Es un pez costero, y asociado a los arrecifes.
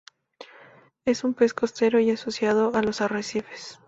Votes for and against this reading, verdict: 12, 0, accepted